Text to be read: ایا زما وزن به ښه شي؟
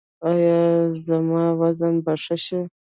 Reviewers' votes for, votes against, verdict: 1, 2, rejected